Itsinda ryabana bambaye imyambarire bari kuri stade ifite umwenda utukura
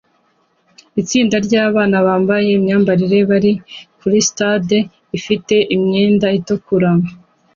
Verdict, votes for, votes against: accepted, 2, 0